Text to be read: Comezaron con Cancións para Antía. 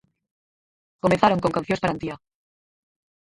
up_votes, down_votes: 0, 4